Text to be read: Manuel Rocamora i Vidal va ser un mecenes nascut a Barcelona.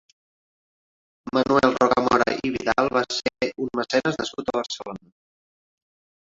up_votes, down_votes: 0, 2